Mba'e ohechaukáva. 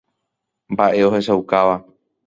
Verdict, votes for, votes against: accepted, 2, 0